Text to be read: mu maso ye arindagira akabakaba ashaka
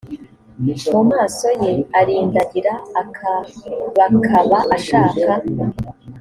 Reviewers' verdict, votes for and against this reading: accepted, 3, 0